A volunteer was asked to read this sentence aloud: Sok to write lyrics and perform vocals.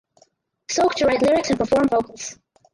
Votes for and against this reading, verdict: 4, 0, accepted